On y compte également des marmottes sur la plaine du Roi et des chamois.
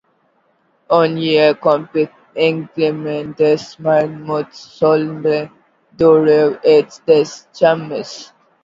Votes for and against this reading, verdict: 1, 2, rejected